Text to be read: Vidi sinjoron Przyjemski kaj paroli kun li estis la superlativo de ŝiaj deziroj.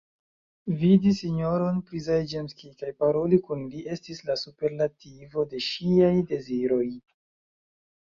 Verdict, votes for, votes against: accepted, 2, 0